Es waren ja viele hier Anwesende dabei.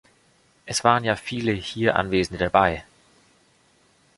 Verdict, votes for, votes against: accepted, 2, 0